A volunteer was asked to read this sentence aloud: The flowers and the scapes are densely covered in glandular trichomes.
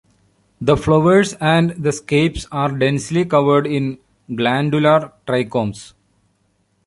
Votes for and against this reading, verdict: 2, 1, accepted